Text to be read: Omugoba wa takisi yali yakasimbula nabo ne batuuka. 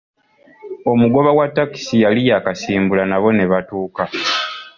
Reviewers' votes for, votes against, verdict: 2, 0, accepted